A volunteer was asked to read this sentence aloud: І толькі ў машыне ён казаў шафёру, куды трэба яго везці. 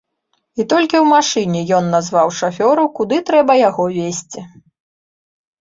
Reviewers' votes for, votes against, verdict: 1, 2, rejected